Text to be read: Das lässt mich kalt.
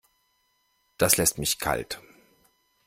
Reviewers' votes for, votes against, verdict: 2, 0, accepted